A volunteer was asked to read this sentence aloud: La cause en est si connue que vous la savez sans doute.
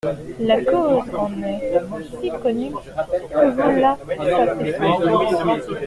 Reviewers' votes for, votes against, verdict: 0, 2, rejected